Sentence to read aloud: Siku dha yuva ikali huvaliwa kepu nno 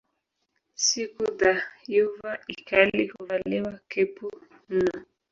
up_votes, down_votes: 0, 2